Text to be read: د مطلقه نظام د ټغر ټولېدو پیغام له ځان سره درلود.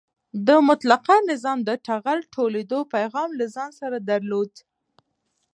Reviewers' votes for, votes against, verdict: 2, 0, accepted